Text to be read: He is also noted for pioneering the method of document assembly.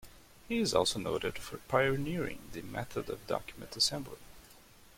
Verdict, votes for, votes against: accepted, 2, 1